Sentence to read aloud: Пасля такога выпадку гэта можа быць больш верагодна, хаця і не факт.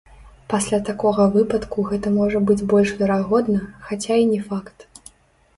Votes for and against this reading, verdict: 1, 3, rejected